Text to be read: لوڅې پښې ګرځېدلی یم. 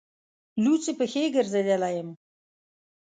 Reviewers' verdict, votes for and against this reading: accepted, 2, 0